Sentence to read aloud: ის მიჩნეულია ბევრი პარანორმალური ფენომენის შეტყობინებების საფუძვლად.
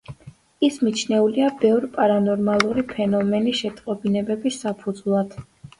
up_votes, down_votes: 2, 0